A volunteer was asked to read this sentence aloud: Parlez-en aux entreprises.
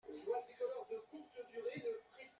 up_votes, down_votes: 0, 2